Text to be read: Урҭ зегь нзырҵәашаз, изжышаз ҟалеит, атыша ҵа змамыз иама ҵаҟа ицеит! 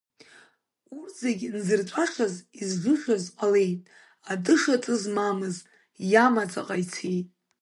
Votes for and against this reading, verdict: 1, 2, rejected